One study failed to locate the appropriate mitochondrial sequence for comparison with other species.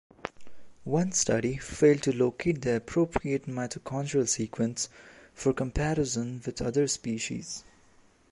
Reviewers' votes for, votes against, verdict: 2, 0, accepted